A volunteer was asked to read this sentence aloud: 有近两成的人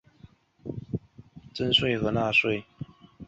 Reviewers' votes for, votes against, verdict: 0, 2, rejected